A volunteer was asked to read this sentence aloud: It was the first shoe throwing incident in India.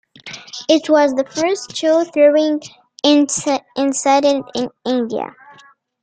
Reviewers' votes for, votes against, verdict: 0, 2, rejected